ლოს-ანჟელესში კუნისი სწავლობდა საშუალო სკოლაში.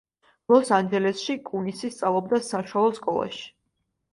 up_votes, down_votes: 2, 0